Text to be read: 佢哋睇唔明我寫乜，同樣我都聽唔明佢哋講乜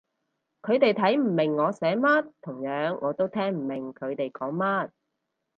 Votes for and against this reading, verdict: 2, 0, accepted